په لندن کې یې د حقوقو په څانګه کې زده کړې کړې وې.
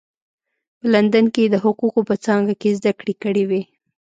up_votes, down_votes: 2, 0